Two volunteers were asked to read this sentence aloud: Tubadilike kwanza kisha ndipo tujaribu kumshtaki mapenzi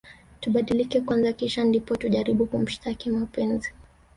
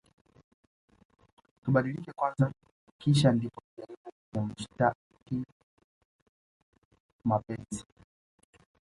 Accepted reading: first